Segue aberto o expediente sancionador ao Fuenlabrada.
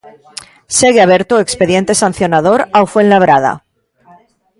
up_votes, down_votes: 2, 0